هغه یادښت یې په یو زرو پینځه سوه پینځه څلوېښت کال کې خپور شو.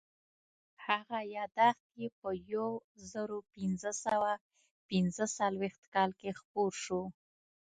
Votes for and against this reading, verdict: 0, 2, rejected